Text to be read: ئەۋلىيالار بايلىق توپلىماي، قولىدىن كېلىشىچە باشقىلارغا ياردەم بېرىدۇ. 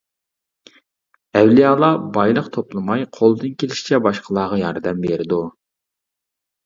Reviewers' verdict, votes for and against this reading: accepted, 2, 0